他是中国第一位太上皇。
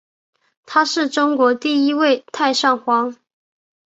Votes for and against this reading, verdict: 3, 0, accepted